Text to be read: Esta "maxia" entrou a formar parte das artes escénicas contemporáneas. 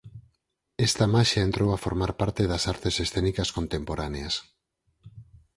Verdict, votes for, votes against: accepted, 4, 0